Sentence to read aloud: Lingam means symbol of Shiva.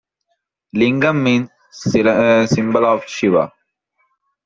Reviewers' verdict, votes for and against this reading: rejected, 0, 2